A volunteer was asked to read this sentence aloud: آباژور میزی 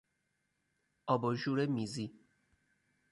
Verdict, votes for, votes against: accepted, 4, 0